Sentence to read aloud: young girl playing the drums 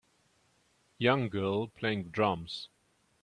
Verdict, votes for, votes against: rejected, 0, 2